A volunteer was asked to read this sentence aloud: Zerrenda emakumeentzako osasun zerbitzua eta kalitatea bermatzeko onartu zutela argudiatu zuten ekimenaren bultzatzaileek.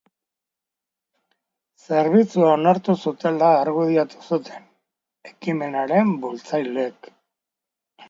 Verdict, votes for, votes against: rejected, 0, 2